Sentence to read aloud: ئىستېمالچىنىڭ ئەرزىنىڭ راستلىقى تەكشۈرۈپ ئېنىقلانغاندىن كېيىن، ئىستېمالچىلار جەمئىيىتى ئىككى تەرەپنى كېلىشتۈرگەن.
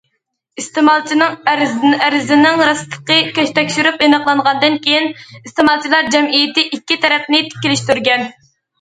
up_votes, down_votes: 0, 2